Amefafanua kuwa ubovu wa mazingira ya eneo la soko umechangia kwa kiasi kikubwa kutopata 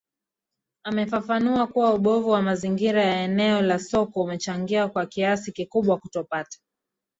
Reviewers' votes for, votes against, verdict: 1, 2, rejected